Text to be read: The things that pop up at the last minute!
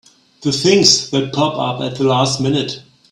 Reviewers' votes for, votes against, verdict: 3, 0, accepted